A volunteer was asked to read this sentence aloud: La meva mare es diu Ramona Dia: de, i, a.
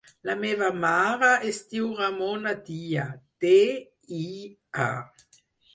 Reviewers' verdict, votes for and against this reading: rejected, 0, 4